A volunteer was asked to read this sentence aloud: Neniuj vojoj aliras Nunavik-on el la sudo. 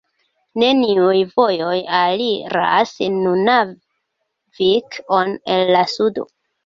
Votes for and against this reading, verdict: 1, 2, rejected